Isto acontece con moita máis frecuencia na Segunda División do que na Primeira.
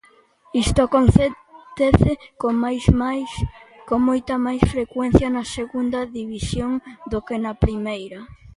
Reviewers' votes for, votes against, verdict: 0, 2, rejected